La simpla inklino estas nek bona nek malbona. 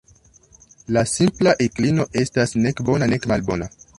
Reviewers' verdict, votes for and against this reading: rejected, 0, 2